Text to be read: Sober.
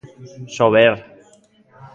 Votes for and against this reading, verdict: 2, 0, accepted